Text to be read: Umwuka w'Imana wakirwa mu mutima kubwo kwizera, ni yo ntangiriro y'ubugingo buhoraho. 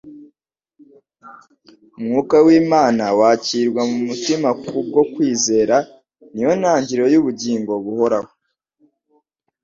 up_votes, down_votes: 2, 0